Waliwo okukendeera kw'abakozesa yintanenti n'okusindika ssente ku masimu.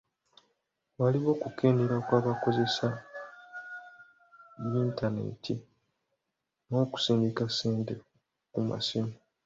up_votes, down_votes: 2, 0